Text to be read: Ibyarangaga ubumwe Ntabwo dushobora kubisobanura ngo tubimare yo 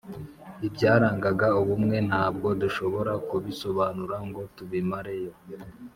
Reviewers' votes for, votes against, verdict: 2, 0, accepted